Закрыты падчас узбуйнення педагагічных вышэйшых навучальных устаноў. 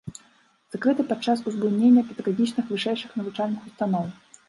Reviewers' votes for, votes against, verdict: 0, 2, rejected